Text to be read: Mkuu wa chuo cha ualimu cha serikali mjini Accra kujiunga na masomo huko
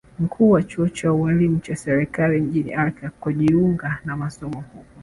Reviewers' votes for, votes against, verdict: 2, 1, accepted